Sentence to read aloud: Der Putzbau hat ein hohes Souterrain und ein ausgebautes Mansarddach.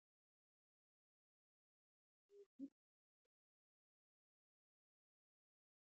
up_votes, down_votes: 0, 2